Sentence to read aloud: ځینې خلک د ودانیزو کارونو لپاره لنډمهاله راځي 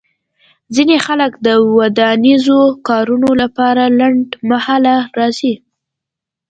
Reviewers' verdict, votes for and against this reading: accepted, 2, 0